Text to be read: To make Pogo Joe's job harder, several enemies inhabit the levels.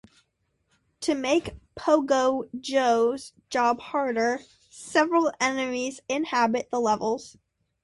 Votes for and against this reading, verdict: 2, 0, accepted